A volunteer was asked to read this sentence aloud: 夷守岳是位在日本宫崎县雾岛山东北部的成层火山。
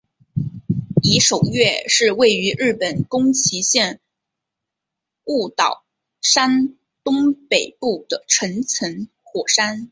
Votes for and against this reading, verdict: 1, 2, rejected